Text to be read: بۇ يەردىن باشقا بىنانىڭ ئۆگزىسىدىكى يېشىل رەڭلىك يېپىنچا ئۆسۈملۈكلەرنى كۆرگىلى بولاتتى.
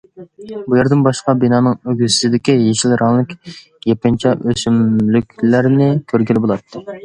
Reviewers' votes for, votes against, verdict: 2, 0, accepted